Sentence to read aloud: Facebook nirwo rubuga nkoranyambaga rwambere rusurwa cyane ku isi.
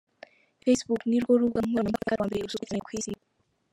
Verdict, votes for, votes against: rejected, 1, 2